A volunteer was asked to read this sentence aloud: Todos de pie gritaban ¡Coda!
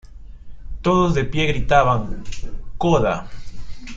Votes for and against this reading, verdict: 2, 0, accepted